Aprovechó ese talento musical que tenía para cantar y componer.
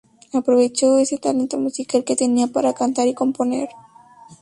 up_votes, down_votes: 2, 0